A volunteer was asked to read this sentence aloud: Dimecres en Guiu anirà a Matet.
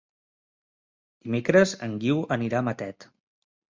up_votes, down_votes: 0, 2